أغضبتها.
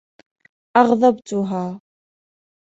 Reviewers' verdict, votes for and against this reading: accepted, 2, 0